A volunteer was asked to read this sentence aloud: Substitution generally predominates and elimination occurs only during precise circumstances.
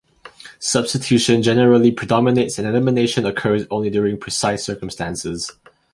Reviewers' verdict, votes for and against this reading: accepted, 2, 0